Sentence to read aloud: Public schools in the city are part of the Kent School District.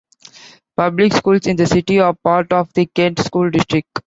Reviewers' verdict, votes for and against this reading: accepted, 2, 0